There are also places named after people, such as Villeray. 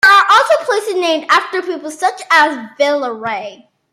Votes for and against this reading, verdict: 0, 2, rejected